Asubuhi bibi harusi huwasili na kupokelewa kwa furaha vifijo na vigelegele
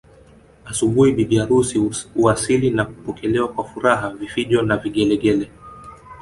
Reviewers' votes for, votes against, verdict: 3, 2, accepted